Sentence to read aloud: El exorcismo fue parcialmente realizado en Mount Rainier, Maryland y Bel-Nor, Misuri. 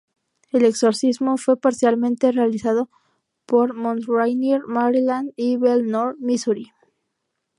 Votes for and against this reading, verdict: 0, 2, rejected